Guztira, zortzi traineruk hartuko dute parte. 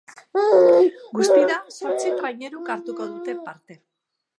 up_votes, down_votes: 2, 1